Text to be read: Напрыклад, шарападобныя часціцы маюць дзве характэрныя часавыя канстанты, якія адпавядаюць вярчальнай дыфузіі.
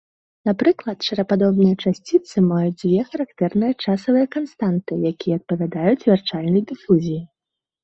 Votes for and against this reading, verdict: 2, 0, accepted